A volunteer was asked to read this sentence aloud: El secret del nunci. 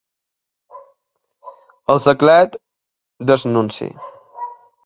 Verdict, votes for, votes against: rejected, 1, 2